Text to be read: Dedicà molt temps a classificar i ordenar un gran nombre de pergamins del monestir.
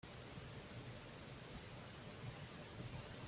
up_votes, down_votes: 0, 2